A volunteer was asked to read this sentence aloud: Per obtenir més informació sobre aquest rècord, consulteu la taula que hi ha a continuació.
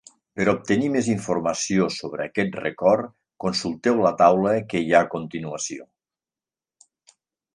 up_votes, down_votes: 0, 2